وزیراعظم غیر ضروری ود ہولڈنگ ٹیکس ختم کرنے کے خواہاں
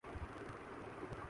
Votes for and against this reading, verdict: 0, 4, rejected